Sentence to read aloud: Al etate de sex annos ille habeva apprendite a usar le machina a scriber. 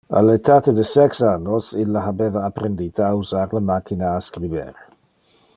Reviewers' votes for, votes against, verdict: 2, 0, accepted